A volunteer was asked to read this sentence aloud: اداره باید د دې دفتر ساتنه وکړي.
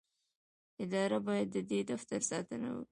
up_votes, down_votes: 2, 1